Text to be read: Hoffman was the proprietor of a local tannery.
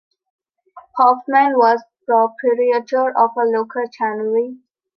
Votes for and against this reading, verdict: 3, 2, accepted